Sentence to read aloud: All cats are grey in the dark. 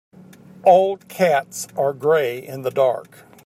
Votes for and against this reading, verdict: 0, 2, rejected